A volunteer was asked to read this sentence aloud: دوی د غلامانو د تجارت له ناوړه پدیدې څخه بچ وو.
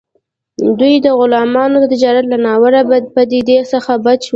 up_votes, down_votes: 2, 1